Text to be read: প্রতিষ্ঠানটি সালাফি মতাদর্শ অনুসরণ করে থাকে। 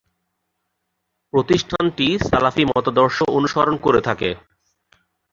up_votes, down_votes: 1, 2